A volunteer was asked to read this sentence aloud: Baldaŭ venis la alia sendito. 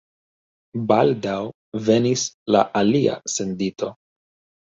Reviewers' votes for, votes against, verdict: 2, 1, accepted